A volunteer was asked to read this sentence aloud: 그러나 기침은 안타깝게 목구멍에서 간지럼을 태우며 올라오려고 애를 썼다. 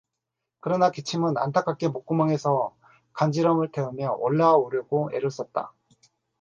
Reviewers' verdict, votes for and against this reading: accepted, 4, 0